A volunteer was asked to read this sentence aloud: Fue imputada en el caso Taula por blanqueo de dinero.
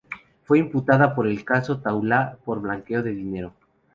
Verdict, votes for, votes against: rejected, 0, 2